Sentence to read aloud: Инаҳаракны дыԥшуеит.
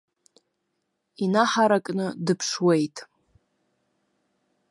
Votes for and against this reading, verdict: 2, 0, accepted